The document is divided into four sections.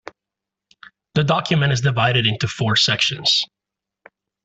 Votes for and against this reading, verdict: 2, 0, accepted